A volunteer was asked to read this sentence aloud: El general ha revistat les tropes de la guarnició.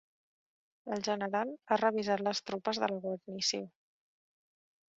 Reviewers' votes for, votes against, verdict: 3, 2, accepted